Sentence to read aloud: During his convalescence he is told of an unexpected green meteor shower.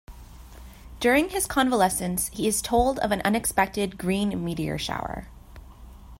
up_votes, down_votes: 2, 0